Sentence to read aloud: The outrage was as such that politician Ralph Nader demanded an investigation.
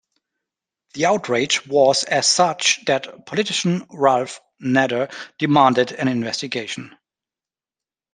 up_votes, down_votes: 0, 2